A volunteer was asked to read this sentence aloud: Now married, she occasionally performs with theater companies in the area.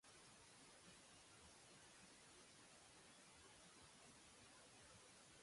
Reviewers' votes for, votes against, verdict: 0, 2, rejected